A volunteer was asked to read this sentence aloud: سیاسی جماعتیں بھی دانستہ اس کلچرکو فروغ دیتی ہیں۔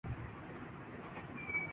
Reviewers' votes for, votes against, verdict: 3, 5, rejected